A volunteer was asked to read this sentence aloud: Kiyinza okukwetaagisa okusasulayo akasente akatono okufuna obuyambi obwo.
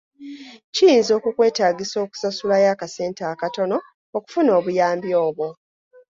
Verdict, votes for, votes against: accepted, 2, 0